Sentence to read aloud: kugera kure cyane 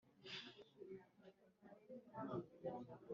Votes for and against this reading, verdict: 1, 2, rejected